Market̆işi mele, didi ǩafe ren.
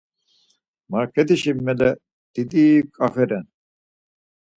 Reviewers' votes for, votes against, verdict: 4, 0, accepted